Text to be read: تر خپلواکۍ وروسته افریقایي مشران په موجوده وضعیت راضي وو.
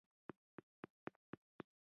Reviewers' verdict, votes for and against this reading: rejected, 0, 2